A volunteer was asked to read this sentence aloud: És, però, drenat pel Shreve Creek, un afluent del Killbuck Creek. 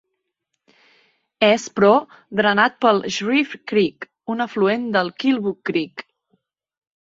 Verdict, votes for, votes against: accepted, 2, 0